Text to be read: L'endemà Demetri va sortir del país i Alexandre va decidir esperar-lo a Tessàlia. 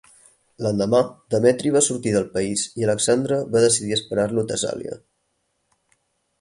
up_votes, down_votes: 4, 0